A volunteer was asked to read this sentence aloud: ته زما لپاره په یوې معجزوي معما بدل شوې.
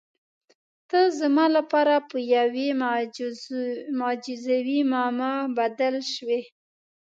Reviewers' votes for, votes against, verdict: 1, 2, rejected